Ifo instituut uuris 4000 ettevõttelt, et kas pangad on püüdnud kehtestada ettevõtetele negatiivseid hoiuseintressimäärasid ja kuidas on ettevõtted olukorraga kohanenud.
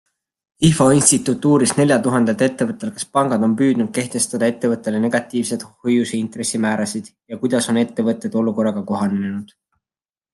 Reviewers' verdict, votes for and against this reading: rejected, 0, 2